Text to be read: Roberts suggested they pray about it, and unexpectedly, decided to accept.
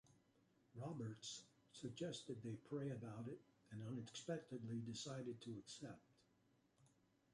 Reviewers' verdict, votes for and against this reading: rejected, 0, 2